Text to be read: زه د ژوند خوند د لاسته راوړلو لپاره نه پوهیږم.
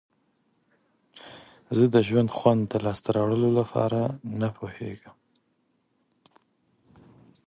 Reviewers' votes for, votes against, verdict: 3, 1, accepted